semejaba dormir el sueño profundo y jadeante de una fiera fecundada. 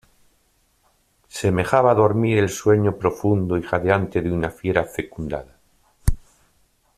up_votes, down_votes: 2, 0